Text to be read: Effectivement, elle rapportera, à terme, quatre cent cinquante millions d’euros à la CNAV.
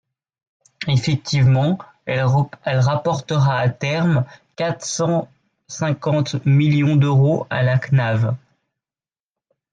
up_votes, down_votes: 1, 2